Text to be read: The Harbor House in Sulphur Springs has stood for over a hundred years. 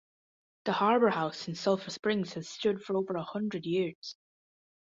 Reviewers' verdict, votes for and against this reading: accepted, 2, 0